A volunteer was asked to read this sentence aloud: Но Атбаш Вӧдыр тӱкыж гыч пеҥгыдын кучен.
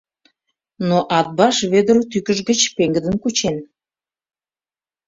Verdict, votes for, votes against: accepted, 2, 0